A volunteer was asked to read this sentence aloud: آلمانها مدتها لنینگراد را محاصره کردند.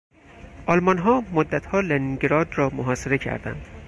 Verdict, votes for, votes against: accepted, 4, 0